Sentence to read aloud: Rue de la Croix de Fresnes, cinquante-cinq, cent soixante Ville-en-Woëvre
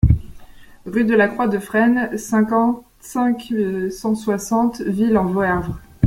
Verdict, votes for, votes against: rejected, 0, 2